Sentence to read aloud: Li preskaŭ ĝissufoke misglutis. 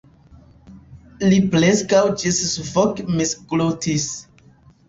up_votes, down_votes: 2, 1